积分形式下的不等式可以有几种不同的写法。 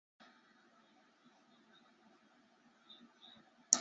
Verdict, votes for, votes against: rejected, 0, 4